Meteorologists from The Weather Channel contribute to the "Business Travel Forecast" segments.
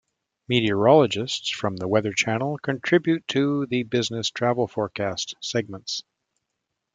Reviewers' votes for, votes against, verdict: 2, 0, accepted